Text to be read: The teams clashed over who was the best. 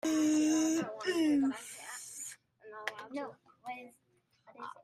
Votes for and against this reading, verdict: 0, 2, rejected